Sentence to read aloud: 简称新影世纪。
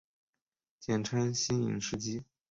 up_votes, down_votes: 3, 0